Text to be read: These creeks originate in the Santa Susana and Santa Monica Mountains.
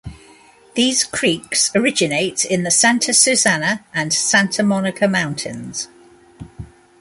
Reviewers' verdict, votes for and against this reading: accepted, 2, 0